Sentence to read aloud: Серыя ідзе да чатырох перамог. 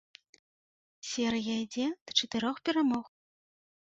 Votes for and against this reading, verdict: 2, 1, accepted